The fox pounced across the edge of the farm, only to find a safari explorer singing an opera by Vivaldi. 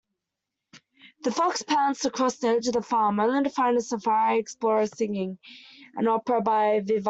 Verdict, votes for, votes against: rejected, 0, 2